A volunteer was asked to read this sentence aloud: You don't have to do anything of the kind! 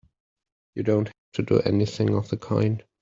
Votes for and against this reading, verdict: 0, 2, rejected